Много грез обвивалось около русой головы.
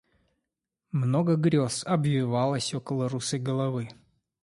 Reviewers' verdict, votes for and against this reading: accepted, 2, 1